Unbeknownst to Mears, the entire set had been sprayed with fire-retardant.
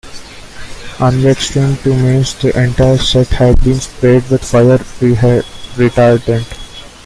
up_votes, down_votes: 0, 2